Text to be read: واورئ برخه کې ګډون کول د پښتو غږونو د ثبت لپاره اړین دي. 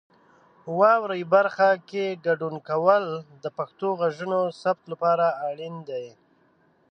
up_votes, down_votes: 2, 0